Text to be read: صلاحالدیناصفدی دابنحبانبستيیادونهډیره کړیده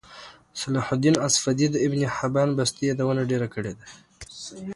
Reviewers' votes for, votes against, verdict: 2, 0, accepted